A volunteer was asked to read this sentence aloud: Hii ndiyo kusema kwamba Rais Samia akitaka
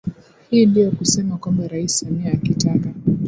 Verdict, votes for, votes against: rejected, 0, 2